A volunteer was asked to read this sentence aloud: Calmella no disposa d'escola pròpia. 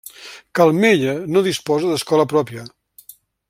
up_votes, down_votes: 3, 0